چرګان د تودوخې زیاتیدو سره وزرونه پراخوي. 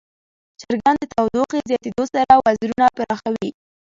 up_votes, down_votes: 2, 0